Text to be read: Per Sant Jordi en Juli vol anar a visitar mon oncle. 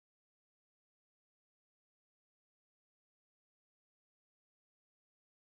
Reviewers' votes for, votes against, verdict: 0, 2, rejected